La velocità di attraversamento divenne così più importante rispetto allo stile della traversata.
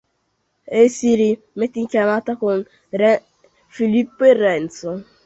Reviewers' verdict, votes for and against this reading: rejected, 0, 2